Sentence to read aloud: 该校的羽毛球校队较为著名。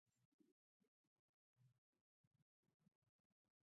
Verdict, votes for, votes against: rejected, 0, 2